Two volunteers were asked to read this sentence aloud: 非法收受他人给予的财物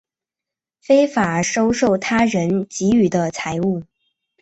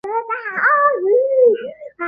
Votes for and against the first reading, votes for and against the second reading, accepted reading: 4, 0, 0, 2, first